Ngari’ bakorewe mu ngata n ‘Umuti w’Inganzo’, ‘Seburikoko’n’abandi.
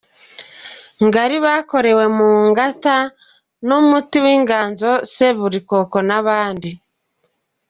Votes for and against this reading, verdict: 2, 1, accepted